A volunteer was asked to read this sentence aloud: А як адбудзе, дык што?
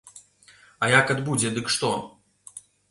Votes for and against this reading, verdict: 2, 0, accepted